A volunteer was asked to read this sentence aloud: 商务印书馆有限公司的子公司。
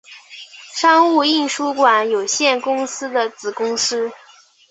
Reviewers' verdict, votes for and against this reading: accepted, 4, 0